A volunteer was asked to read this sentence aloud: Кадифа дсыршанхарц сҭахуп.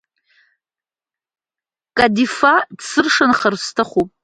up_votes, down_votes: 2, 0